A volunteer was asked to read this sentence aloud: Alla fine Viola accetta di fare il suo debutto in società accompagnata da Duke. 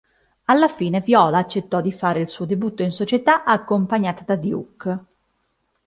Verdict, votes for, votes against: rejected, 1, 2